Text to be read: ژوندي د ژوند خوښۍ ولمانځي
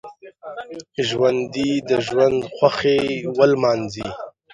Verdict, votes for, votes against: rejected, 2, 3